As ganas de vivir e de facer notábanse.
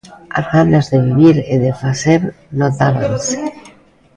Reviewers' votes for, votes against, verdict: 2, 1, accepted